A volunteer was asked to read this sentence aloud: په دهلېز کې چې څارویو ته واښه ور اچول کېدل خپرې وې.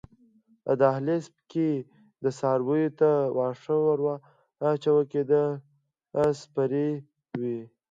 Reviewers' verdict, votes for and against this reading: rejected, 1, 2